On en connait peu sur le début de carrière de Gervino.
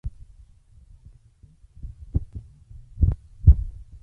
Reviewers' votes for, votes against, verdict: 0, 2, rejected